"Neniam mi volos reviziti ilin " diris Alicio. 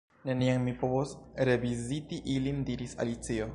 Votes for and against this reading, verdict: 0, 2, rejected